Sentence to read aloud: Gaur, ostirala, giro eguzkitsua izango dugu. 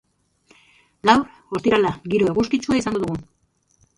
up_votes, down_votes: 1, 2